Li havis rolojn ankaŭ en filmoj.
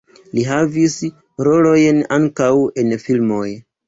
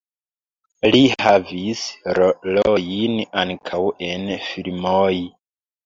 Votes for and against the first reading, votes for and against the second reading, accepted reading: 2, 0, 1, 2, first